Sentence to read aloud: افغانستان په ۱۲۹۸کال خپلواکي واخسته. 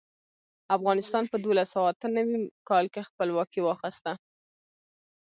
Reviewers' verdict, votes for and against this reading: rejected, 0, 2